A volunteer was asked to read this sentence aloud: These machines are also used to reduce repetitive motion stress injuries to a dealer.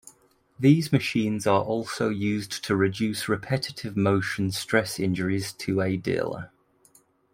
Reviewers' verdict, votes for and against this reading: accepted, 2, 1